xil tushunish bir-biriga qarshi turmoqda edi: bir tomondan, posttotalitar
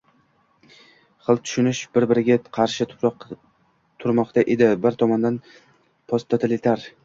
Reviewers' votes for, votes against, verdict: 0, 2, rejected